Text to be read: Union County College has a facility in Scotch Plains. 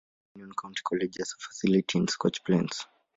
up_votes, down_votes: 1, 2